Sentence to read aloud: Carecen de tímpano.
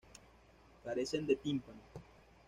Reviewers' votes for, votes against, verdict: 0, 2, rejected